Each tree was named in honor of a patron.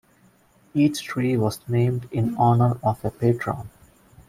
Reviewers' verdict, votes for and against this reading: accepted, 2, 0